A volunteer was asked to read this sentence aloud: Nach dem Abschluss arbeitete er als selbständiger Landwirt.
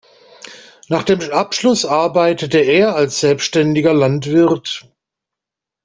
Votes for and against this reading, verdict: 2, 0, accepted